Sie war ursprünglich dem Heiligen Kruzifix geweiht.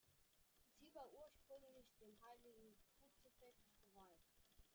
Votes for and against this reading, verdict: 0, 2, rejected